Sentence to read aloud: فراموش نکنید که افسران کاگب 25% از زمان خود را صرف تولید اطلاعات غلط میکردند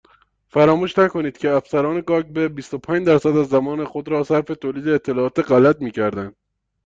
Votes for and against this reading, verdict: 0, 2, rejected